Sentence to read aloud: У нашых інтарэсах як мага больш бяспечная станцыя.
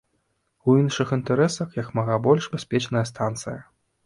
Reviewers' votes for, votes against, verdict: 1, 2, rejected